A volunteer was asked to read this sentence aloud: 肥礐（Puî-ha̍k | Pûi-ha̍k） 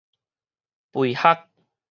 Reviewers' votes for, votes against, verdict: 4, 0, accepted